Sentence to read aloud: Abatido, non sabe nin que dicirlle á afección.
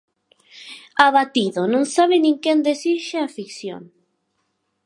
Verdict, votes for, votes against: rejected, 0, 4